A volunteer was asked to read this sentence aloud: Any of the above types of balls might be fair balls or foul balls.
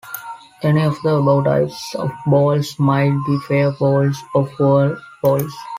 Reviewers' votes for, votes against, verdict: 1, 2, rejected